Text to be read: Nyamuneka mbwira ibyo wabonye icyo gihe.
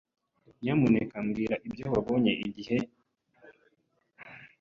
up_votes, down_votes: 1, 2